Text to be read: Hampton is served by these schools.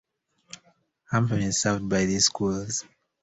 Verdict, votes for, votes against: accepted, 2, 1